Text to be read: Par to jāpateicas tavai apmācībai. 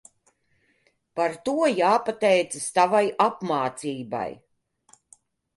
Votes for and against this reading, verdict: 2, 0, accepted